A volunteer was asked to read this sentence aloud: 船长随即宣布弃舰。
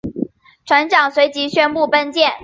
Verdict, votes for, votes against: rejected, 1, 2